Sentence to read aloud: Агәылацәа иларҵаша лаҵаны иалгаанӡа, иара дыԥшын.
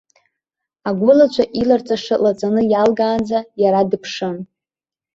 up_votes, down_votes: 2, 0